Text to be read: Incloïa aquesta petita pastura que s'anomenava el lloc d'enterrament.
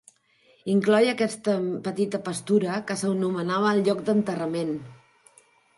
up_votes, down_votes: 2, 1